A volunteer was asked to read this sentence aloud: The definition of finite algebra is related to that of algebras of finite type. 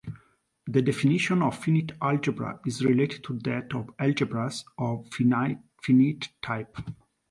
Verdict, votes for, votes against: rejected, 1, 2